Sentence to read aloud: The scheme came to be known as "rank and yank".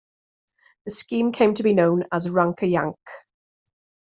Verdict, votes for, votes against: rejected, 1, 2